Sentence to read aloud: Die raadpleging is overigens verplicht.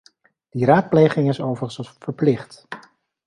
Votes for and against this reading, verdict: 0, 2, rejected